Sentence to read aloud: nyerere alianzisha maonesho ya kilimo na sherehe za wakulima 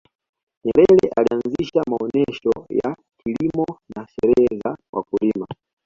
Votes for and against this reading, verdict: 0, 2, rejected